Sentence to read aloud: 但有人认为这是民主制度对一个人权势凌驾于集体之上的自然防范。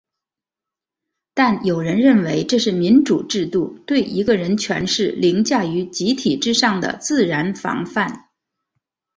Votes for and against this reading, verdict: 0, 2, rejected